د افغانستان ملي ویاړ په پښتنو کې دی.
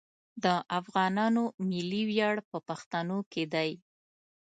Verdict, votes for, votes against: rejected, 1, 2